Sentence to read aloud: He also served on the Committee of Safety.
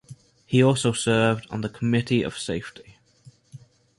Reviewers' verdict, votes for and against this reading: accepted, 2, 0